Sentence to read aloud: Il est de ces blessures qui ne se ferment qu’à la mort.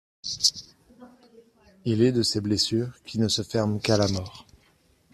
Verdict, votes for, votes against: accepted, 2, 0